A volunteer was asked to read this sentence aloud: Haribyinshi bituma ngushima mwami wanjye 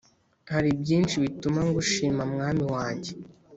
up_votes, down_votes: 3, 0